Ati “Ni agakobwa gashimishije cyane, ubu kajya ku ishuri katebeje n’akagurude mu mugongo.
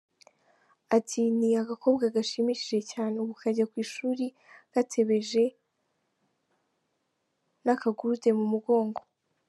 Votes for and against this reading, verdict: 2, 0, accepted